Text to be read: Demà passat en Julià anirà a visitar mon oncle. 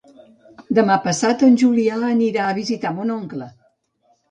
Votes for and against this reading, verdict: 0, 2, rejected